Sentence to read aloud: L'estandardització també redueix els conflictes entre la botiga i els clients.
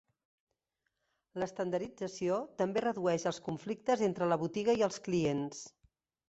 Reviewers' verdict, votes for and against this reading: rejected, 1, 2